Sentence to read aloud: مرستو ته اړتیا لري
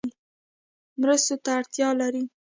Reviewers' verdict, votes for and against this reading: accepted, 2, 0